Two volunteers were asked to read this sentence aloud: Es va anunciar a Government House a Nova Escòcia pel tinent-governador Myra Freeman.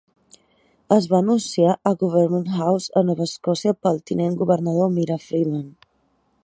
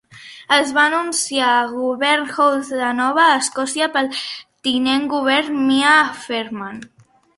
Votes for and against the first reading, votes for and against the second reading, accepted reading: 2, 0, 0, 2, first